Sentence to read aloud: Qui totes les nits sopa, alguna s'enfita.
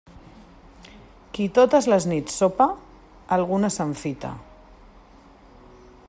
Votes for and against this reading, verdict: 2, 1, accepted